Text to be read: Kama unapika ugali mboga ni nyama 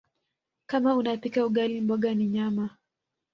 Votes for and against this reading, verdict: 2, 1, accepted